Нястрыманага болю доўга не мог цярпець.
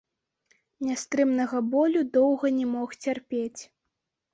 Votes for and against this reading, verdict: 2, 3, rejected